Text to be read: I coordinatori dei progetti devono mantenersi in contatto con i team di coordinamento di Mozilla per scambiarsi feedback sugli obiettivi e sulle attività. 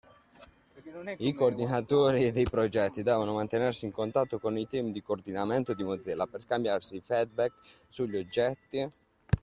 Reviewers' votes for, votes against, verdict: 0, 2, rejected